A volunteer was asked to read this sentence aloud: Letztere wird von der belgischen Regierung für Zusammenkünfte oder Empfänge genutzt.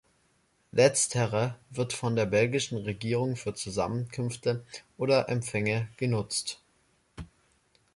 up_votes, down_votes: 2, 0